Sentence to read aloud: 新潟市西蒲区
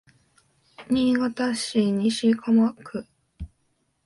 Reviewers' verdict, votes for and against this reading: rejected, 1, 2